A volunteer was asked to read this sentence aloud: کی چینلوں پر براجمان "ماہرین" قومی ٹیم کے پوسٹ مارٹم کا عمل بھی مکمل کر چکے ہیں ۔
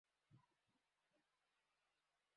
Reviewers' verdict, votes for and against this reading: rejected, 0, 2